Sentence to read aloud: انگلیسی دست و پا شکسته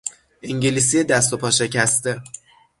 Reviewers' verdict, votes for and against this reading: accepted, 6, 0